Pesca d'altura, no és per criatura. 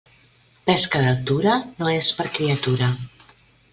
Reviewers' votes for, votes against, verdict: 2, 0, accepted